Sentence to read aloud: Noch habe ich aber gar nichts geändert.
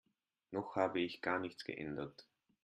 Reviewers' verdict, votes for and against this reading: rejected, 0, 3